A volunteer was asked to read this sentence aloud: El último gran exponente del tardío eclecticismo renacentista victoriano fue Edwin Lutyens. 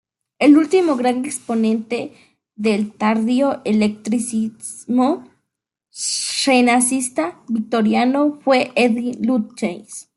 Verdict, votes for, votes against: rejected, 0, 2